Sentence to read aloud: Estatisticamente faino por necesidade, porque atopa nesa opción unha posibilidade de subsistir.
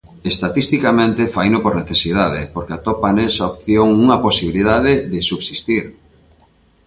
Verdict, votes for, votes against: accepted, 2, 0